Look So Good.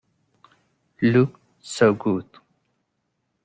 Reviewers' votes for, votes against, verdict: 0, 2, rejected